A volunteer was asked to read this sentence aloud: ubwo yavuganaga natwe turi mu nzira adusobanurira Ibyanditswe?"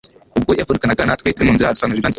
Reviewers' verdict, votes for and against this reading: rejected, 1, 2